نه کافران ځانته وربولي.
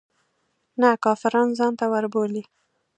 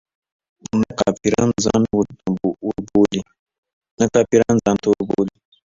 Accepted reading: first